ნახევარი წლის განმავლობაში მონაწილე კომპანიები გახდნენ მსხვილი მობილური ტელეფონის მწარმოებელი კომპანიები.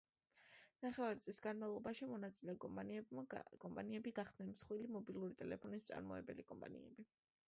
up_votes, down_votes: 0, 2